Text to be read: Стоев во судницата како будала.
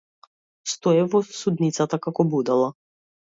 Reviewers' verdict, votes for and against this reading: accepted, 2, 0